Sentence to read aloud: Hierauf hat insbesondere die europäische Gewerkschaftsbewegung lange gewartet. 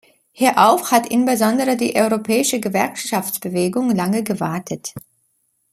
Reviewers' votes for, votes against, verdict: 1, 2, rejected